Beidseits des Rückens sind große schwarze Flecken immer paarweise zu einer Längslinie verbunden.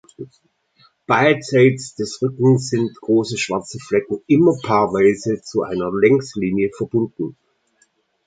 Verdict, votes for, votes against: accepted, 2, 0